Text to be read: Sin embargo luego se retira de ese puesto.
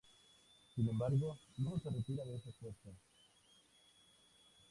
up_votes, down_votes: 2, 0